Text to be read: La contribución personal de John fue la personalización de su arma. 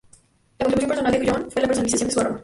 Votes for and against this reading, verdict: 0, 2, rejected